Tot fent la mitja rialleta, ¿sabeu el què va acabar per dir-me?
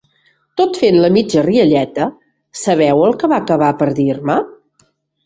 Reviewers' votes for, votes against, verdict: 4, 1, accepted